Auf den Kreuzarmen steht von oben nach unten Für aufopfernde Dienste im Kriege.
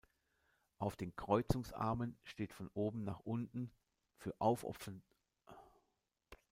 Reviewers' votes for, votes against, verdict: 0, 2, rejected